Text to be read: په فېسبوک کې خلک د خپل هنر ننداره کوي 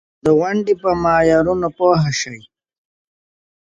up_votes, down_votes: 1, 2